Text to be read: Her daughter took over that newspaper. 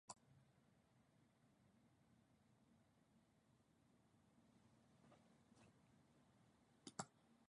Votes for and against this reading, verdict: 0, 2, rejected